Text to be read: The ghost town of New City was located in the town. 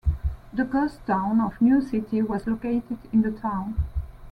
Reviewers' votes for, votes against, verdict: 2, 0, accepted